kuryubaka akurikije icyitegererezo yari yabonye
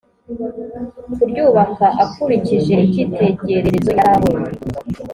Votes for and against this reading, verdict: 2, 0, accepted